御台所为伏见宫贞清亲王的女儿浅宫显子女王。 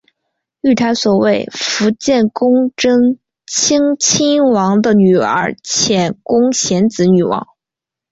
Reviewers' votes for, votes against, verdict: 5, 0, accepted